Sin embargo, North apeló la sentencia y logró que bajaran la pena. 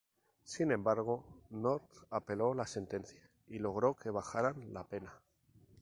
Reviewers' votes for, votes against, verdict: 2, 0, accepted